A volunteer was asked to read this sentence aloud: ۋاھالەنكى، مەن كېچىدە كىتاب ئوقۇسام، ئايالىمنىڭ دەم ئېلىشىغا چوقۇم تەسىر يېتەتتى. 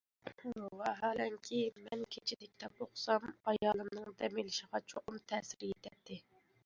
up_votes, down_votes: 1, 2